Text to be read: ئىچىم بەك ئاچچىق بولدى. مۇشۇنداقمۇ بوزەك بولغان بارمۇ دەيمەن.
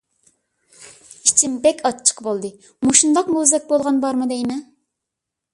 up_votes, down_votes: 1, 2